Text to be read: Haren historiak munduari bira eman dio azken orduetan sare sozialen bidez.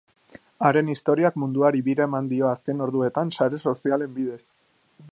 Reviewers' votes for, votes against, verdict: 3, 0, accepted